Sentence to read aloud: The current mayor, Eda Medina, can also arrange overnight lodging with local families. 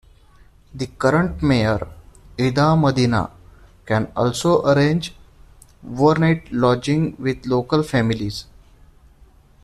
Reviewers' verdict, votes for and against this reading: accepted, 2, 1